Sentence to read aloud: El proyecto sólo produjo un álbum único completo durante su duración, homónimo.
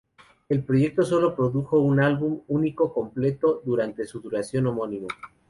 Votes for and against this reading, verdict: 2, 0, accepted